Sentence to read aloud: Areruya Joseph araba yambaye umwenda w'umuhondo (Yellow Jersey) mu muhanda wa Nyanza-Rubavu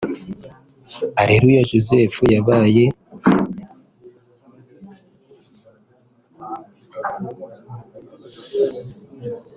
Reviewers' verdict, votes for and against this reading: rejected, 0, 3